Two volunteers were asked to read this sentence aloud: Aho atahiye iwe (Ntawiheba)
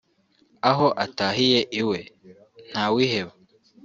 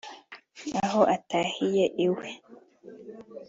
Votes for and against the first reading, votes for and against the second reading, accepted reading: 3, 0, 1, 2, first